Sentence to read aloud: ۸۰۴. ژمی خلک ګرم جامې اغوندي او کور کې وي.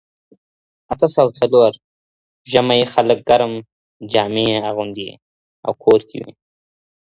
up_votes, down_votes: 0, 2